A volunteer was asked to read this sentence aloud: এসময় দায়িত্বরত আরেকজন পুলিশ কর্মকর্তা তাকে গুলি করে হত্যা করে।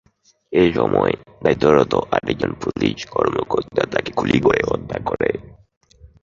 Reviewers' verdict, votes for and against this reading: accepted, 2, 0